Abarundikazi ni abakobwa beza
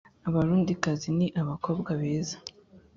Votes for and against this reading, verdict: 2, 0, accepted